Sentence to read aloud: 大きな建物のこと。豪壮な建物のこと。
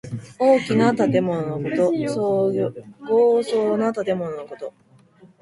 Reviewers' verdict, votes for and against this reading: rejected, 1, 2